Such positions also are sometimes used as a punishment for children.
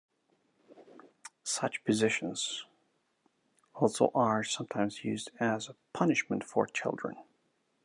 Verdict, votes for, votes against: accepted, 2, 1